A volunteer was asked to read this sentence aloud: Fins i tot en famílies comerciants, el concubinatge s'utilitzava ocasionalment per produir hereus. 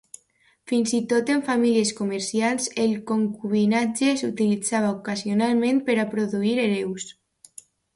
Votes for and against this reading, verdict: 0, 2, rejected